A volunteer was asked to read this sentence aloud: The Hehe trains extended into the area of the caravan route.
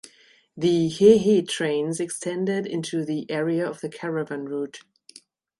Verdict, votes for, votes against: accepted, 2, 0